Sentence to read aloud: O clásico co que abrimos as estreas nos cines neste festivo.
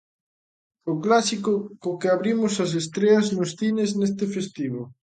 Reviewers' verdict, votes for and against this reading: accepted, 2, 0